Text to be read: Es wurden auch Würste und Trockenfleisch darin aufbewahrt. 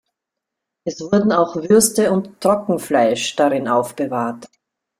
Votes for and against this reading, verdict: 2, 0, accepted